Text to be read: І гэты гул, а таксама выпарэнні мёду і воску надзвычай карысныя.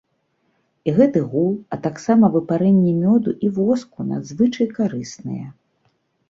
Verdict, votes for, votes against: accepted, 2, 0